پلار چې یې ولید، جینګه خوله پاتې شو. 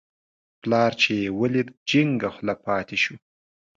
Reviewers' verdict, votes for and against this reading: accepted, 2, 0